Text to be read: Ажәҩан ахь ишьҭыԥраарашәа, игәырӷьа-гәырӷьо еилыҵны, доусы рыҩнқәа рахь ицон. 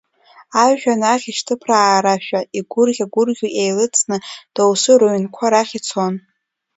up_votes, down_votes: 2, 0